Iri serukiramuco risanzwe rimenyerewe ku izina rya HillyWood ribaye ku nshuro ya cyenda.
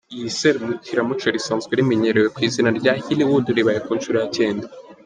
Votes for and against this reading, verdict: 1, 3, rejected